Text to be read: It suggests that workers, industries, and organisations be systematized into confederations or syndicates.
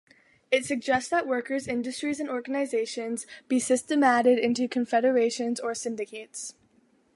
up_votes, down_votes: 1, 2